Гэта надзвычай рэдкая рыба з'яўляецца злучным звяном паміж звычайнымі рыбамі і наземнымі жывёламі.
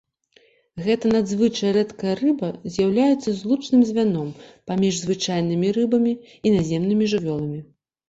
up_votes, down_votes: 2, 0